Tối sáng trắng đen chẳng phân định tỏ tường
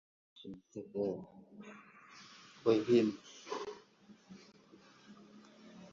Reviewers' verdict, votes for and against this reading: rejected, 0, 2